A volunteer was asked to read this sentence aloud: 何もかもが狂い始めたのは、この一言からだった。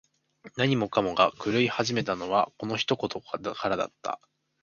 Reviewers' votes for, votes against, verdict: 1, 2, rejected